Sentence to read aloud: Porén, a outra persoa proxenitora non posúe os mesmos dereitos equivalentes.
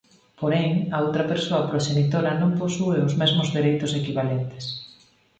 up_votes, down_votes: 4, 0